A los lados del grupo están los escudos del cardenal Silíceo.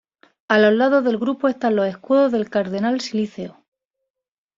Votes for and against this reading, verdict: 2, 0, accepted